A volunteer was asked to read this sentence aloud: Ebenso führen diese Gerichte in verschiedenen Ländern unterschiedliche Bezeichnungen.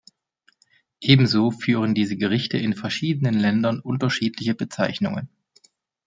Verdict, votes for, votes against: accepted, 2, 0